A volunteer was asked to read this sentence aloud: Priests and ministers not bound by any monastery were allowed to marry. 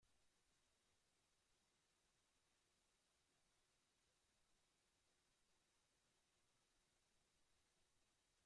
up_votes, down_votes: 0, 2